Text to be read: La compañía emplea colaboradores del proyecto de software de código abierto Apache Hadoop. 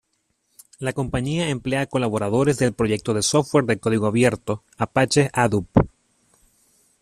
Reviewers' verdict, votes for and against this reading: accepted, 2, 0